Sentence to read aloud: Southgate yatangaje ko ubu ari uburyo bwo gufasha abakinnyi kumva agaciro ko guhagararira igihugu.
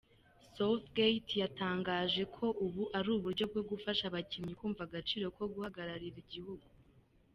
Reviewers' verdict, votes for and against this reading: accepted, 2, 1